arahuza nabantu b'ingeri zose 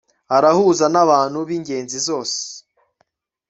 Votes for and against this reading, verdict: 0, 2, rejected